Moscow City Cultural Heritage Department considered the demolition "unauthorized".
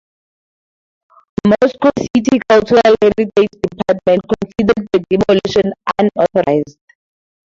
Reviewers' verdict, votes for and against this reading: rejected, 0, 4